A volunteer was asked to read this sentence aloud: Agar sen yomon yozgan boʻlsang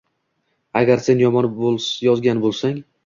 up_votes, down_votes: 1, 2